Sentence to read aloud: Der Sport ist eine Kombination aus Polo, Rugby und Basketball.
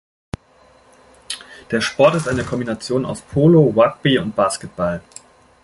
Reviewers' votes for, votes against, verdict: 2, 0, accepted